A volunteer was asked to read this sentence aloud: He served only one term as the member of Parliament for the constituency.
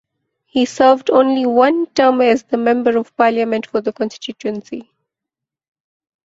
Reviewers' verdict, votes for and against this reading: rejected, 1, 2